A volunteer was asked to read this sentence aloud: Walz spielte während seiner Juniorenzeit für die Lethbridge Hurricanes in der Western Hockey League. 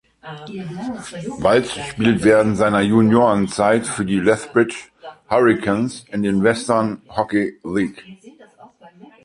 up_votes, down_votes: 0, 2